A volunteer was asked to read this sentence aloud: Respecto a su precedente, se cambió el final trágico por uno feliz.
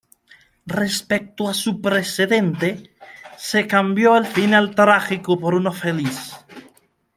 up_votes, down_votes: 0, 2